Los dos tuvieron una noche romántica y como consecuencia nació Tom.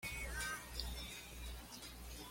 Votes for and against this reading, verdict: 1, 2, rejected